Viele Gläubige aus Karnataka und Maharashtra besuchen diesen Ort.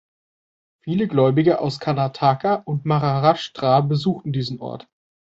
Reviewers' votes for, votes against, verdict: 2, 0, accepted